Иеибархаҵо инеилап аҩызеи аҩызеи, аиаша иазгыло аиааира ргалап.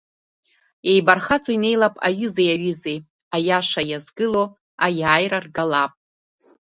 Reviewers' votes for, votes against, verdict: 2, 0, accepted